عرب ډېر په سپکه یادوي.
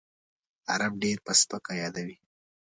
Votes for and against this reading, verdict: 2, 0, accepted